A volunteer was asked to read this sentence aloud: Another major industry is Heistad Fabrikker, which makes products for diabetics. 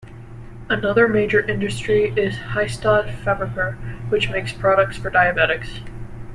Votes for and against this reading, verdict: 1, 2, rejected